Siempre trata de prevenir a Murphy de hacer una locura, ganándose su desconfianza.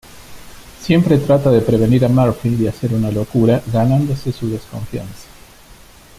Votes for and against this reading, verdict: 2, 1, accepted